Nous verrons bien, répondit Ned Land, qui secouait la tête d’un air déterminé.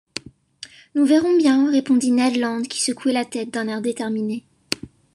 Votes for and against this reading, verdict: 2, 0, accepted